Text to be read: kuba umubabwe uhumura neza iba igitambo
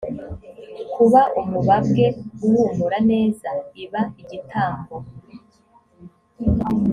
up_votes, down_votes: 2, 0